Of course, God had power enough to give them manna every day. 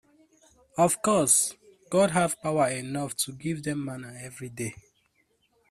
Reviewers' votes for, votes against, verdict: 2, 0, accepted